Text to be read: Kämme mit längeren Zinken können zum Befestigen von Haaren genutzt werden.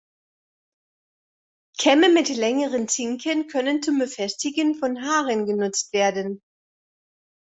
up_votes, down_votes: 2, 0